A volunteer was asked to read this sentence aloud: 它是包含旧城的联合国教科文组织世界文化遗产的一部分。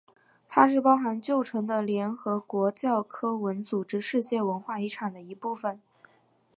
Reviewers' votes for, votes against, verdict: 3, 0, accepted